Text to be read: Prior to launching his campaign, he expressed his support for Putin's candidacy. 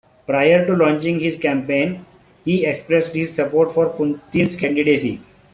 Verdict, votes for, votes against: accepted, 2, 0